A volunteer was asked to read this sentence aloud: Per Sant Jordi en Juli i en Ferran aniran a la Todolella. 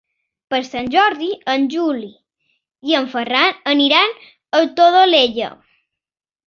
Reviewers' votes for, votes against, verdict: 0, 2, rejected